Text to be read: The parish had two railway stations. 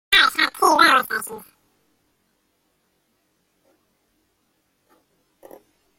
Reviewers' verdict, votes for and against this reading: rejected, 0, 2